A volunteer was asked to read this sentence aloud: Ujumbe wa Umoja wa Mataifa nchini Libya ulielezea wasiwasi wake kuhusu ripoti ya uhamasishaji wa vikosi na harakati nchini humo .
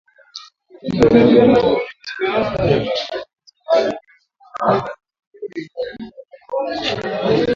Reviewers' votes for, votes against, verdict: 0, 2, rejected